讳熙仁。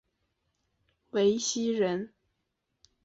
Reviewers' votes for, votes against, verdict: 2, 0, accepted